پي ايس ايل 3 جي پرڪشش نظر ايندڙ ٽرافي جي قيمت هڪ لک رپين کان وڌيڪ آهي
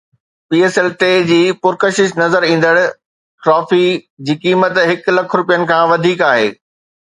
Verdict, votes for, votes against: rejected, 0, 2